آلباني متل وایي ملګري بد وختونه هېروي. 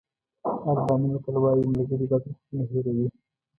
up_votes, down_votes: 1, 2